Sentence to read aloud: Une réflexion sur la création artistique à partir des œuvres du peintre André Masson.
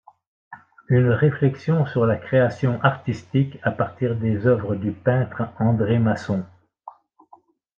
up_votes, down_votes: 2, 0